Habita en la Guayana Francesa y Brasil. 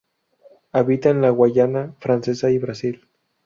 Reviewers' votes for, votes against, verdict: 2, 0, accepted